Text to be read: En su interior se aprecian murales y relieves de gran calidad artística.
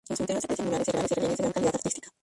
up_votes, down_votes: 0, 2